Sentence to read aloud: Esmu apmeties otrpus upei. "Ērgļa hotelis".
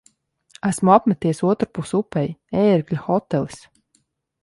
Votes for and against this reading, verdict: 3, 0, accepted